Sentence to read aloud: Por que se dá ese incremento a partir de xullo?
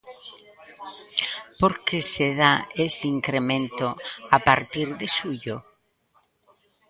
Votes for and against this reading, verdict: 2, 0, accepted